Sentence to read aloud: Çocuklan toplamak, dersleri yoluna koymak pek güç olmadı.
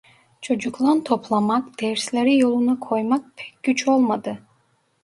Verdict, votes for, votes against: rejected, 1, 2